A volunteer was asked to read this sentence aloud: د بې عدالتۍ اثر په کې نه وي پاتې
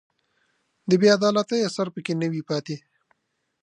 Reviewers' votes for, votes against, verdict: 2, 0, accepted